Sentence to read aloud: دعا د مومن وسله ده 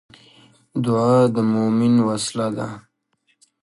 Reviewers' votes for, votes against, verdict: 0, 2, rejected